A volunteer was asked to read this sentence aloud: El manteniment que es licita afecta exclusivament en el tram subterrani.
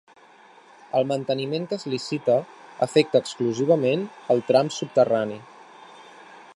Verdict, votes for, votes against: rejected, 0, 2